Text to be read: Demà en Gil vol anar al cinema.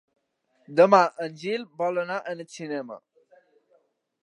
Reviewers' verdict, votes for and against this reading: accepted, 2, 1